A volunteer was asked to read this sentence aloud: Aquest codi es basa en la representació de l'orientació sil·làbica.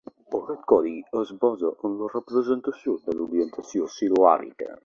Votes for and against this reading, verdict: 1, 2, rejected